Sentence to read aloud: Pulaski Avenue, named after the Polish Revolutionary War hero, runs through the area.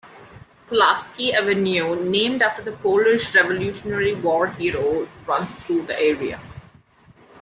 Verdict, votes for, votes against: accepted, 2, 1